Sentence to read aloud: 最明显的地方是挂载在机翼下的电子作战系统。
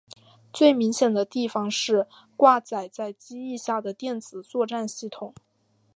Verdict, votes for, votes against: accepted, 2, 0